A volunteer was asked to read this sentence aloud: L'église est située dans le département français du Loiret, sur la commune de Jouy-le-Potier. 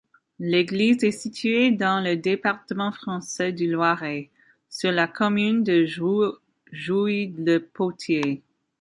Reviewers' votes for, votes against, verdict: 2, 0, accepted